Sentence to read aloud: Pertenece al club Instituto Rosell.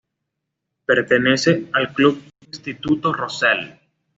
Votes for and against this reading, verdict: 2, 0, accepted